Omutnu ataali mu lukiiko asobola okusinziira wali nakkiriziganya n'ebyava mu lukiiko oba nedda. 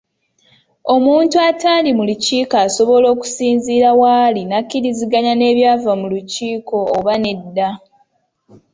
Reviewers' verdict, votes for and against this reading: accepted, 2, 0